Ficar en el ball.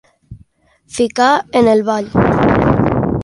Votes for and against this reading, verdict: 1, 2, rejected